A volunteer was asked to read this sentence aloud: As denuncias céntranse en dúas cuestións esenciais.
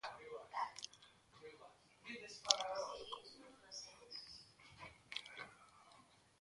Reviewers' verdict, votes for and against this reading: rejected, 0, 2